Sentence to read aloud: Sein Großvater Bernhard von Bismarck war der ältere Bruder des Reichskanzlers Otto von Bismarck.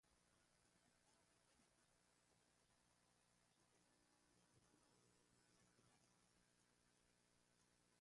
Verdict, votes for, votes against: rejected, 0, 2